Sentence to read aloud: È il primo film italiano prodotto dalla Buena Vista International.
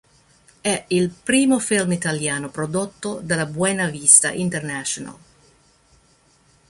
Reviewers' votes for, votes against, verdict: 1, 2, rejected